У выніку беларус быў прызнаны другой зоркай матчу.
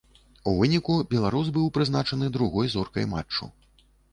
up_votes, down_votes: 0, 2